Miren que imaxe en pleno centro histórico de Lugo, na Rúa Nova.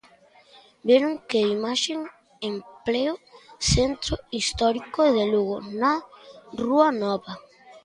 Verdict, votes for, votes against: rejected, 0, 3